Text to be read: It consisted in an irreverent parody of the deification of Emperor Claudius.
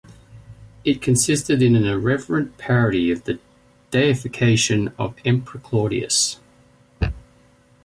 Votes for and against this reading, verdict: 1, 2, rejected